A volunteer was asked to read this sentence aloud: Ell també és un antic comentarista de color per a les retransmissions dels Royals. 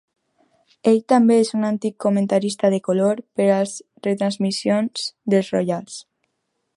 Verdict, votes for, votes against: rejected, 0, 2